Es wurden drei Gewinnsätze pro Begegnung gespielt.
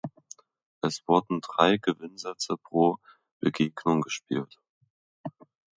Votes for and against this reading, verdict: 1, 2, rejected